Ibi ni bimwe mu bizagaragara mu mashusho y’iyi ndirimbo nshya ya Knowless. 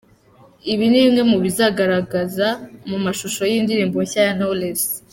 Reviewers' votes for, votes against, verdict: 1, 2, rejected